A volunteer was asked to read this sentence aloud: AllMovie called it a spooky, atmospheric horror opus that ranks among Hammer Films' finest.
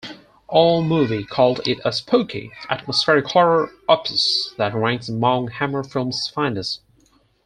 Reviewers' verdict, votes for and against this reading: accepted, 4, 0